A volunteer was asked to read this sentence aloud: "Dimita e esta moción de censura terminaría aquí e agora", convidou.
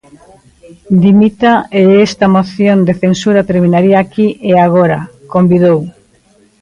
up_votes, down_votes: 0, 2